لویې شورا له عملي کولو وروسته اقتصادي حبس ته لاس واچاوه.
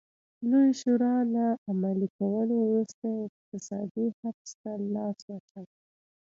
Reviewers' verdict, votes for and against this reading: rejected, 1, 2